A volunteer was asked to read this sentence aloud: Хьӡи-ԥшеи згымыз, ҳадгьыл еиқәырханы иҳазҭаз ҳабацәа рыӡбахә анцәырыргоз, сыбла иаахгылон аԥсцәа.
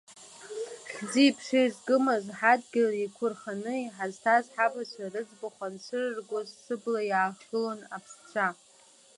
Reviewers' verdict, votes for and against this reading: rejected, 1, 2